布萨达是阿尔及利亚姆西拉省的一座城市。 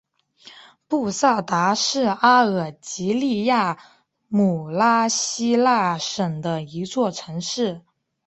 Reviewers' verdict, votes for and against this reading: rejected, 1, 2